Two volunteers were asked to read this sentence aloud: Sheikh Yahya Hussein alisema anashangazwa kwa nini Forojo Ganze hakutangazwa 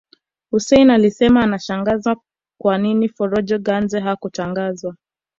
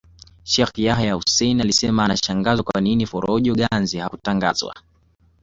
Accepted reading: second